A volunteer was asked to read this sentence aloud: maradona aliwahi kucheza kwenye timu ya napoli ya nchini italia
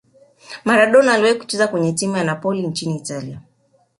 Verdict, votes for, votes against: accepted, 2, 0